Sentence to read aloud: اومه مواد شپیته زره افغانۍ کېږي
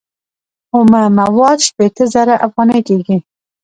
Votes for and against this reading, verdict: 2, 0, accepted